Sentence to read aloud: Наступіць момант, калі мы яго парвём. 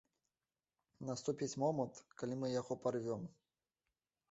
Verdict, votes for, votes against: rejected, 0, 2